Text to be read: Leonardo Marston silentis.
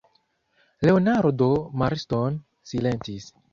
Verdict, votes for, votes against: rejected, 0, 2